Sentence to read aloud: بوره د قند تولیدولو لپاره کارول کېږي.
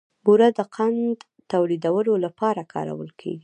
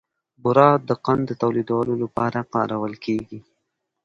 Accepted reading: second